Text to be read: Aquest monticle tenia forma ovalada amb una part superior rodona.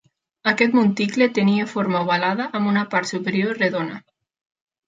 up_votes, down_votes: 0, 2